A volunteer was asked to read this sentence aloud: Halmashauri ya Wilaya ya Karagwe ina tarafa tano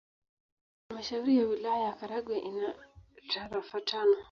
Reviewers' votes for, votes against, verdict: 2, 0, accepted